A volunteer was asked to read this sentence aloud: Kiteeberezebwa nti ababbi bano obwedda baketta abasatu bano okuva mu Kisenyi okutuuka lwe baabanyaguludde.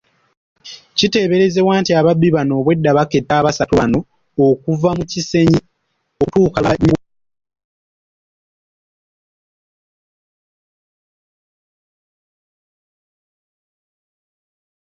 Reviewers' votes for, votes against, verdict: 0, 2, rejected